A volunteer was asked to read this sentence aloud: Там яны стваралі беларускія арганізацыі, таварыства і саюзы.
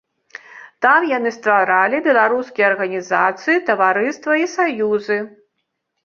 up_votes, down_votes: 2, 0